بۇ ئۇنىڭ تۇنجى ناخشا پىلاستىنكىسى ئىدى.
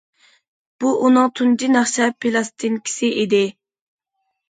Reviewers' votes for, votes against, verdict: 2, 0, accepted